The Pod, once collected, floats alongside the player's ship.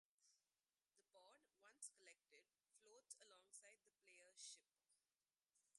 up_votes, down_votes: 0, 2